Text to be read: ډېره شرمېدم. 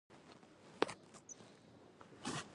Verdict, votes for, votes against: rejected, 1, 2